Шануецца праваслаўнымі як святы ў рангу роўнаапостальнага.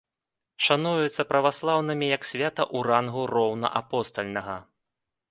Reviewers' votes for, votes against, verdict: 1, 2, rejected